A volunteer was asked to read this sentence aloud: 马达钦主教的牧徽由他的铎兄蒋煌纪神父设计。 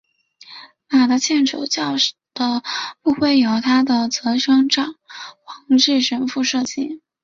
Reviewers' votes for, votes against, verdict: 3, 0, accepted